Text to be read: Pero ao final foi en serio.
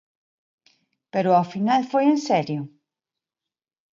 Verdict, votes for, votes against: accepted, 2, 0